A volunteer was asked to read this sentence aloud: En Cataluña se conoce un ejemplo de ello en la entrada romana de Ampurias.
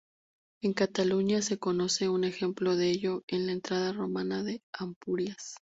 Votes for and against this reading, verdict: 0, 2, rejected